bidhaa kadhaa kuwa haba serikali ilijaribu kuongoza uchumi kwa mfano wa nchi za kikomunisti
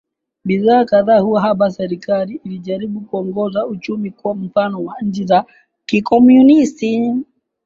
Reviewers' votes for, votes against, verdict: 7, 2, accepted